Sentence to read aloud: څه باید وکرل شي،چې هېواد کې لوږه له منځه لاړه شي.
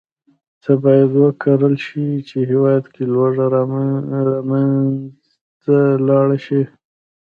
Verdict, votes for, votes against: rejected, 0, 2